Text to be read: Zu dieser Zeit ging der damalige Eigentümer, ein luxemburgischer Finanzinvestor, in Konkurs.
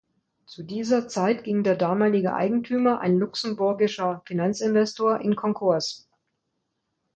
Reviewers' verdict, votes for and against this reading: accepted, 2, 0